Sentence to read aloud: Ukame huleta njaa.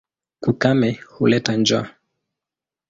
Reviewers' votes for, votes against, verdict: 2, 0, accepted